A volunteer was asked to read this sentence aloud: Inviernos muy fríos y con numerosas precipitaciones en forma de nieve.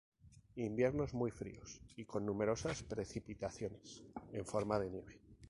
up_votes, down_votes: 0, 2